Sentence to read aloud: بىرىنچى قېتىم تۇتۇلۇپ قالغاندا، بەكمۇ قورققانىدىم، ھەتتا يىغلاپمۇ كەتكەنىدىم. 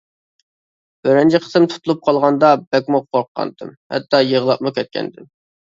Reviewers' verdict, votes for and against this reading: rejected, 0, 2